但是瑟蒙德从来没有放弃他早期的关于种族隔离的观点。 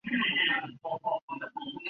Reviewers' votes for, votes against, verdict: 0, 2, rejected